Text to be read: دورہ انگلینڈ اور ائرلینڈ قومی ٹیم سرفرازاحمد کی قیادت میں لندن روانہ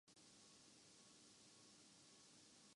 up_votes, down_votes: 0, 2